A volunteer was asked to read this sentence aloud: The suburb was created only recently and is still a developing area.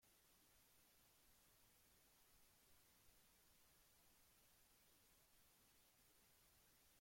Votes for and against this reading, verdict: 0, 3, rejected